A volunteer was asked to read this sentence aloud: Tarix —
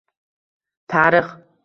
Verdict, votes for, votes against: rejected, 1, 2